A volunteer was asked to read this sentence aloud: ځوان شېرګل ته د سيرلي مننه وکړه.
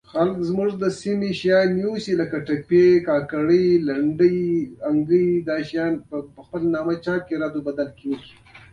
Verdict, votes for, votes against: rejected, 1, 2